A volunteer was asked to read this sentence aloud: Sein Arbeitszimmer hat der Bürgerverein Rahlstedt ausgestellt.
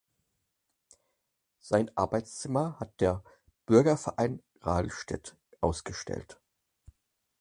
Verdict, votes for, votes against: accepted, 4, 0